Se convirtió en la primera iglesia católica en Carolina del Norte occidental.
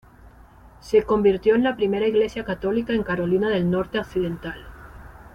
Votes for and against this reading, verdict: 2, 0, accepted